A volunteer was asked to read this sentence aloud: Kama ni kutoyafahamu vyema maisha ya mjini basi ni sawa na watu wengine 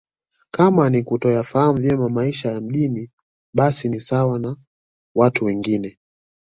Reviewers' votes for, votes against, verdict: 1, 2, rejected